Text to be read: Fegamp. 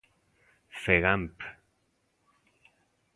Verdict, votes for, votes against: accepted, 2, 0